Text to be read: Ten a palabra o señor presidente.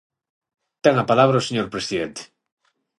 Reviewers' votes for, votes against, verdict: 6, 0, accepted